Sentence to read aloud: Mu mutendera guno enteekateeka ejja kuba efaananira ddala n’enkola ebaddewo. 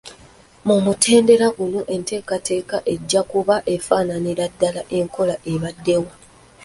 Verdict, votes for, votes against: rejected, 0, 2